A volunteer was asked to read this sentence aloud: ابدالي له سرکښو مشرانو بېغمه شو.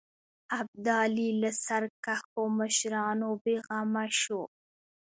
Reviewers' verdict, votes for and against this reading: rejected, 1, 2